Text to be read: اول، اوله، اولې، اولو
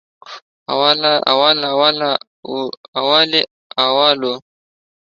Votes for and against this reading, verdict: 1, 2, rejected